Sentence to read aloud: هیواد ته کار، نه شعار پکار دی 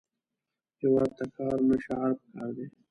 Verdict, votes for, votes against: rejected, 1, 2